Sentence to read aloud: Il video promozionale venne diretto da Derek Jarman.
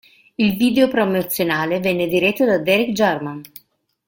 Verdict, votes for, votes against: accepted, 2, 0